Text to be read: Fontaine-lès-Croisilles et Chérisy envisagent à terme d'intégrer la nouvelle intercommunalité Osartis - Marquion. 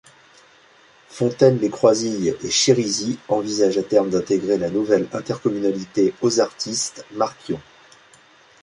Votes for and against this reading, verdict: 2, 1, accepted